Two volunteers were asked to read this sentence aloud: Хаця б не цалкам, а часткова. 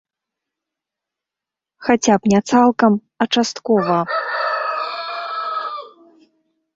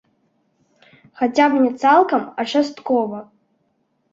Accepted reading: second